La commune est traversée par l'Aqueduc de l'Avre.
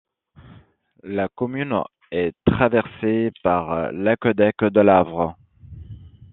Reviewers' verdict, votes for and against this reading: rejected, 1, 2